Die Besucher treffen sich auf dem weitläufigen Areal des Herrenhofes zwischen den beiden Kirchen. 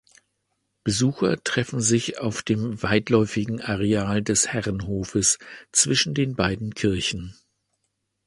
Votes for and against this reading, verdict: 1, 2, rejected